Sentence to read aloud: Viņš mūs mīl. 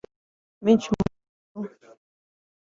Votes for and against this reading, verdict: 0, 2, rejected